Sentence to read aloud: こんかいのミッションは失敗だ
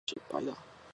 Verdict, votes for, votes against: rejected, 0, 2